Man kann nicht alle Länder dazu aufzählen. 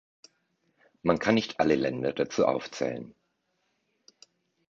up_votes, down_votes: 2, 0